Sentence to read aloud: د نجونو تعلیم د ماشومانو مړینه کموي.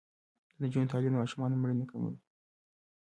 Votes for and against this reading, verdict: 0, 2, rejected